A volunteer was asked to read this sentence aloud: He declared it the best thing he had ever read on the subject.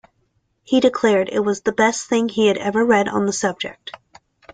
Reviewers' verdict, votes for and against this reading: accepted, 2, 0